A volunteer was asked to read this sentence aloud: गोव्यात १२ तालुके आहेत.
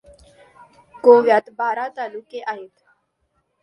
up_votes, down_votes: 0, 2